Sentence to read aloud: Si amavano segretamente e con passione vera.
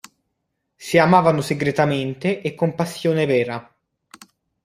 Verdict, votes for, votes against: accepted, 2, 0